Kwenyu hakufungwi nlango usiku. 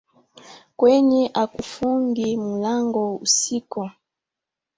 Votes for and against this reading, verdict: 1, 2, rejected